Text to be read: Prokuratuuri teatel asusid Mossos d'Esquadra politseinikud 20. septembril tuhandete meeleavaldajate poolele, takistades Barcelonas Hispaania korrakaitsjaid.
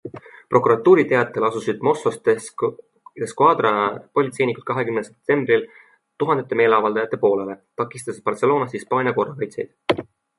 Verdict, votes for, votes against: rejected, 0, 2